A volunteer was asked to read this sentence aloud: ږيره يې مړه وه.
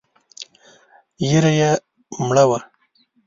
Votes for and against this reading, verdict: 2, 0, accepted